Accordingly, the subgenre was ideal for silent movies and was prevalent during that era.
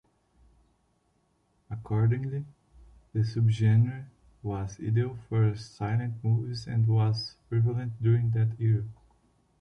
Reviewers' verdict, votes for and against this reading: rejected, 1, 2